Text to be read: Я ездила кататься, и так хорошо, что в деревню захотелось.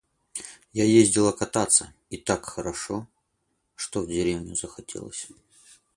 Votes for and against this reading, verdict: 4, 0, accepted